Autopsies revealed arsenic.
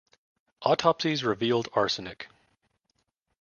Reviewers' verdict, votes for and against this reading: accepted, 2, 0